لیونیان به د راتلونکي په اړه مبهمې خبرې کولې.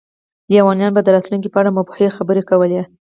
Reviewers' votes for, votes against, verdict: 4, 0, accepted